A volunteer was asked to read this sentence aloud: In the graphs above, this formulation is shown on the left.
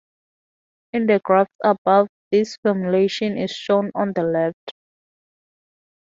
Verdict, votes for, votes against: accepted, 2, 0